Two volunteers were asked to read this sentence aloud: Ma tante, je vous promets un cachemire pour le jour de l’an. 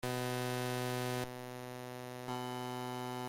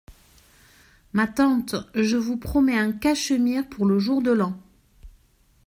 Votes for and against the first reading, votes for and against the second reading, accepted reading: 0, 2, 2, 0, second